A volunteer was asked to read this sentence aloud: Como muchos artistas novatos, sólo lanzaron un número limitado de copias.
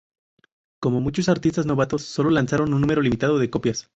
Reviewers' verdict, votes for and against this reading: accepted, 2, 0